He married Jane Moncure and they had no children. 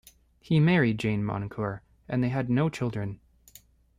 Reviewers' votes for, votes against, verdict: 2, 0, accepted